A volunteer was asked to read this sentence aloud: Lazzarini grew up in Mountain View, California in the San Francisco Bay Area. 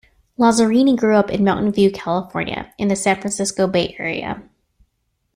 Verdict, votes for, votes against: accepted, 2, 0